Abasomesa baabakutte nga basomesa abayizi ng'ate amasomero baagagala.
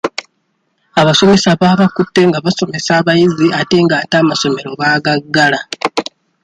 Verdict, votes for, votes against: rejected, 0, 2